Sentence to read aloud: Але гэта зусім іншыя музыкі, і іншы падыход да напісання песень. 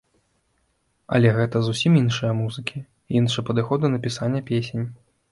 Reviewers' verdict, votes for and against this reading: rejected, 0, 2